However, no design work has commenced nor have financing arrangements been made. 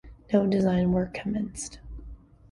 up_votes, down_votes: 1, 2